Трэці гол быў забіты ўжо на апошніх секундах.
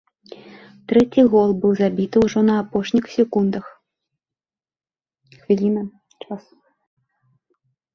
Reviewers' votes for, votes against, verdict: 2, 1, accepted